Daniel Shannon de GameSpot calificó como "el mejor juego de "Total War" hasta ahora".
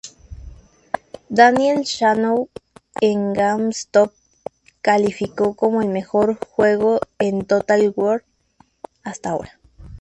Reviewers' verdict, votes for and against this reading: rejected, 0, 2